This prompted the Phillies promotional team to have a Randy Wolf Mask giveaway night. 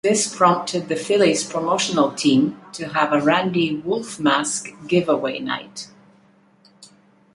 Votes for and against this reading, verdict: 2, 0, accepted